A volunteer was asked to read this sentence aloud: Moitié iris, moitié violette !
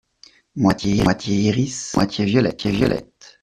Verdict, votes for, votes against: rejected, 0, 2